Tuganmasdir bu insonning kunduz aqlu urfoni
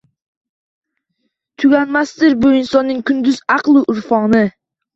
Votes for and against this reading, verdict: 3, 0, accepted